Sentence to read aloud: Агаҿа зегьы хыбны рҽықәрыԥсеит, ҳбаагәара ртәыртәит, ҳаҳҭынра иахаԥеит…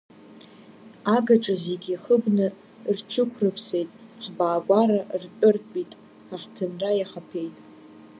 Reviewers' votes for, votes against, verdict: 2, 0, accepted